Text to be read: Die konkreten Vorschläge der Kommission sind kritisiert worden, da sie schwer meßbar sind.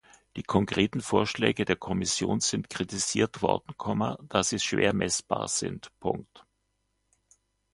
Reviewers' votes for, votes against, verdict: 0, 2, rejected